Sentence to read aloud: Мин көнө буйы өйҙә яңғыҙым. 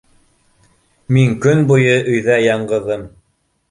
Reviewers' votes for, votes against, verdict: 0, 2, rejected